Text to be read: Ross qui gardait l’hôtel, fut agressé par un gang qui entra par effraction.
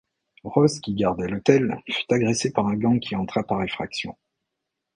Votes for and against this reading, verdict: 3, 0, accepted